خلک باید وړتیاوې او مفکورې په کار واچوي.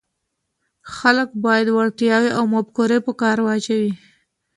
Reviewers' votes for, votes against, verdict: 2, 0, accepted